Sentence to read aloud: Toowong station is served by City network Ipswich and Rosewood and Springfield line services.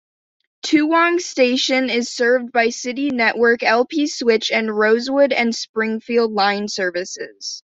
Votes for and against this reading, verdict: 1, 2, rejected